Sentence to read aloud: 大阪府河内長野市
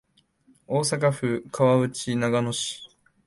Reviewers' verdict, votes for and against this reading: rejected, 1, 2